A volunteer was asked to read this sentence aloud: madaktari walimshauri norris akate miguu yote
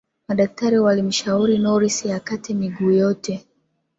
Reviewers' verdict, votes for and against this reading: rejected, 1, 5